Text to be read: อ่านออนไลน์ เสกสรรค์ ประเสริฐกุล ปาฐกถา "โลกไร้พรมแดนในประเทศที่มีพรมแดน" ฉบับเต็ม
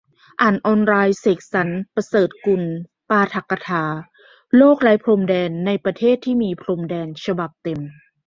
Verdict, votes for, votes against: accepted, 2, 0